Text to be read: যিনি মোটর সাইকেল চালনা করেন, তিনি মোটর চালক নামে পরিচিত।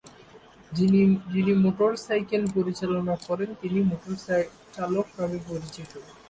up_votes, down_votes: 0, 2